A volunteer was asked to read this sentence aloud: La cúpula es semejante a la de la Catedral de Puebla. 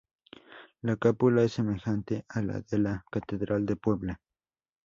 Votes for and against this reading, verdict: 0, 2, rejected